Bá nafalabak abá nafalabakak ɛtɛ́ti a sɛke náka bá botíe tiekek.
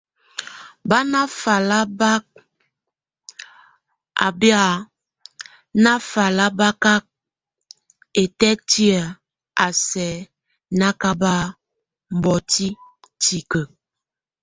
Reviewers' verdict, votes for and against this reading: rejected, 0, 2